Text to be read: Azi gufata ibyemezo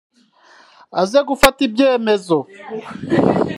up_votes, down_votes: 0, 2